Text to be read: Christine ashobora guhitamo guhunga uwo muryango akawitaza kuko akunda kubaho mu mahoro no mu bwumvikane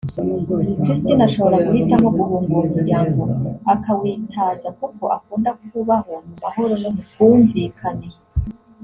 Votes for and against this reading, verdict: 2, 0, accepted